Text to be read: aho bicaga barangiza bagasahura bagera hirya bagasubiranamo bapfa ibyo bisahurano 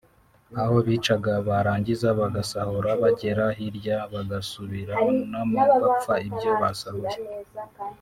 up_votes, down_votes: 2, 3